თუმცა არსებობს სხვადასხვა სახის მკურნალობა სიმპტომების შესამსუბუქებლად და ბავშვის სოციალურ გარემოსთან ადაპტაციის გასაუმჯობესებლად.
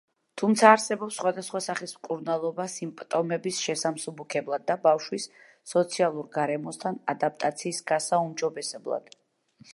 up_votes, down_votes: 2, 0